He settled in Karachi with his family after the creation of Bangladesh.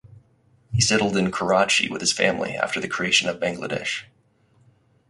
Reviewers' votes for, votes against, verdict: 4, 0, accepted